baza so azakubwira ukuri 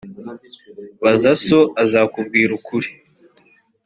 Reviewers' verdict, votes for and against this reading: accepted, 2, 0